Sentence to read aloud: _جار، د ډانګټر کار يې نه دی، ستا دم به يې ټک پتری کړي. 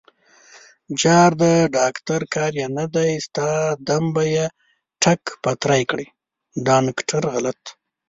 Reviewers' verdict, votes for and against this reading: rejected, 0, 2